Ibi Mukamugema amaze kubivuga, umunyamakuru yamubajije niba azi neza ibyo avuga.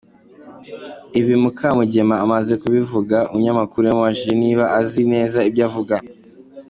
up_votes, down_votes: 0, 2